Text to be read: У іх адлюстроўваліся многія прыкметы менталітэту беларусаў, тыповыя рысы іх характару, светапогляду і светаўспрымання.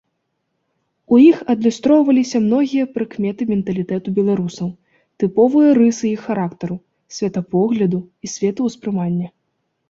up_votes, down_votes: 2, 0